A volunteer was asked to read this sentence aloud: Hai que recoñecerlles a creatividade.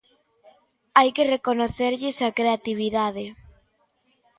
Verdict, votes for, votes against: accepted, 2, 1